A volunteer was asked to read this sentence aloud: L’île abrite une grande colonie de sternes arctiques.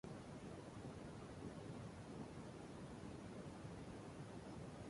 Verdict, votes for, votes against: rejected, 0, 2